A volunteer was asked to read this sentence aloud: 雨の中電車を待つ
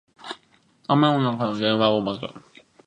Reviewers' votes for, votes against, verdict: 0, 2, rejected